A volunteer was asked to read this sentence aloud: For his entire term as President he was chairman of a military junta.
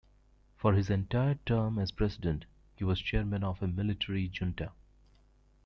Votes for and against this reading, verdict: 2, 1, accepted